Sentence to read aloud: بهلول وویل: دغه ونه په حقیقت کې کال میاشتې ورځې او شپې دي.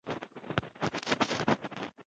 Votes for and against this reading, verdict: 1, 2, rejected